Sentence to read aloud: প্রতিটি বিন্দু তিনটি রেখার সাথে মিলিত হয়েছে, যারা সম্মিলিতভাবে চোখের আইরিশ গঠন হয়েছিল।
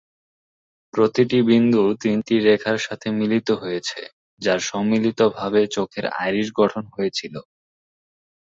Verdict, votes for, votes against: rejected, 2, 2